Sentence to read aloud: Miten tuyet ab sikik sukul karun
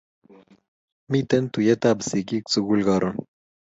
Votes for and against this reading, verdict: 2, 0, accepted